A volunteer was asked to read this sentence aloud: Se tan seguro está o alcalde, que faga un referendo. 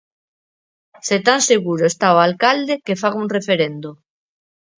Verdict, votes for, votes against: accepted, 4, 0